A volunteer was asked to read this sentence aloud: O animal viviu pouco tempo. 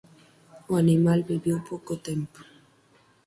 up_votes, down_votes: 2, 4